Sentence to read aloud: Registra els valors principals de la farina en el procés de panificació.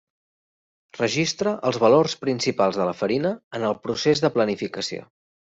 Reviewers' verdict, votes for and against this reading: rejected, 1, 2